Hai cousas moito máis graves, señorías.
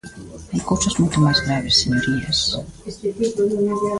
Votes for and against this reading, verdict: 0, 2, rejected